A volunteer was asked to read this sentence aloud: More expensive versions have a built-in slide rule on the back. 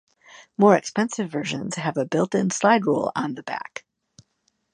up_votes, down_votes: 2, 0